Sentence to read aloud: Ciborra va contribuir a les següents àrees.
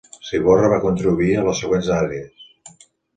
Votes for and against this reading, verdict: 3, 0, accepted